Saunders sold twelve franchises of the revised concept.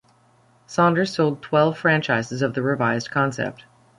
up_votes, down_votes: 2, 0